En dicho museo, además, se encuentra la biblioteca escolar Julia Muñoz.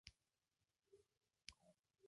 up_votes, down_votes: 0, 2